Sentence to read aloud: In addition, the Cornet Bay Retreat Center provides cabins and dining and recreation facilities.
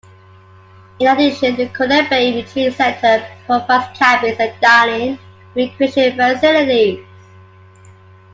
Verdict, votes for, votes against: rejected, 0, 2